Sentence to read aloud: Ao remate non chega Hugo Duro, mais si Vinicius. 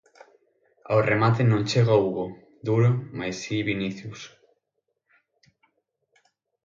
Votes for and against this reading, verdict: 6, 0, accepted